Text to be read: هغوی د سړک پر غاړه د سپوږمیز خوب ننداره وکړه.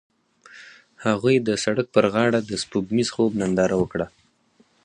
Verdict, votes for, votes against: accepted, 4, 0